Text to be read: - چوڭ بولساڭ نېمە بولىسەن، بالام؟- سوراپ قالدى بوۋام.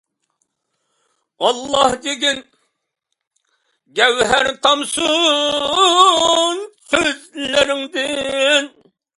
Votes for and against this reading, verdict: 1, 2, rejected